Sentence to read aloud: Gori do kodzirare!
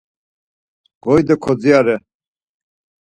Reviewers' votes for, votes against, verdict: 4, 0, accepted